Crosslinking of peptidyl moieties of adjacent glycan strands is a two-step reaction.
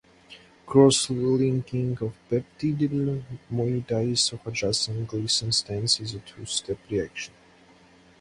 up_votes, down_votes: 2, 4